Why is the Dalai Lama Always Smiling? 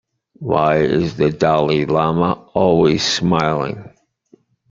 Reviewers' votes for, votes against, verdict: 2, 1, accepted